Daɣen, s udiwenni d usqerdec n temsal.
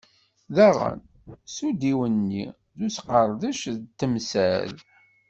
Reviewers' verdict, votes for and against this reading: accepted, 2, 0